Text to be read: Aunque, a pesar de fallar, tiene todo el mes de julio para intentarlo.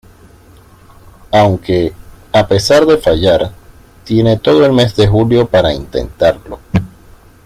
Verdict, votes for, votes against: accepted, 2, 0